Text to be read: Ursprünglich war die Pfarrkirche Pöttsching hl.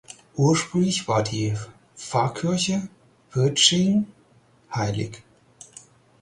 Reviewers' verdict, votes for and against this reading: rejected, 0, 4